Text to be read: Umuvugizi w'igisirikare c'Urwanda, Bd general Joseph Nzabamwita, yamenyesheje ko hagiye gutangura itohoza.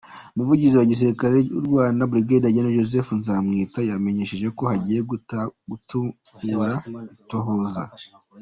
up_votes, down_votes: 1, 2